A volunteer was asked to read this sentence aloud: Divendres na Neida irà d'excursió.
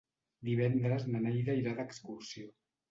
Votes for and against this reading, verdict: 2, 0, accepted